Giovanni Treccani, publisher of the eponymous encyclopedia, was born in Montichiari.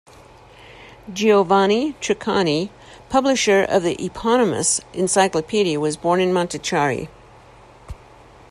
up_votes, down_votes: 2, 0